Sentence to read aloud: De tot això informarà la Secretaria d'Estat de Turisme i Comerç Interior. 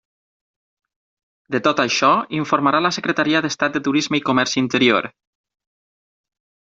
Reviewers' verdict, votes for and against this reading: accepted, 9, 0